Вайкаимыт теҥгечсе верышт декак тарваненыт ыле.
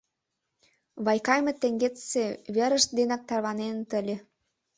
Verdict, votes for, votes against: rejected, 1, 2